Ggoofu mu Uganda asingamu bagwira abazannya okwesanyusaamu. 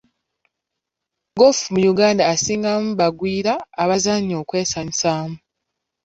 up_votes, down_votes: 2, 0